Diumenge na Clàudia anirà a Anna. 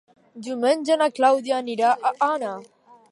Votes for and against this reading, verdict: 2, 0, accepted